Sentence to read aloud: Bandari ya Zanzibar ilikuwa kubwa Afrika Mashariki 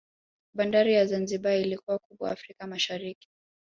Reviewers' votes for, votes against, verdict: 2, 0, accepted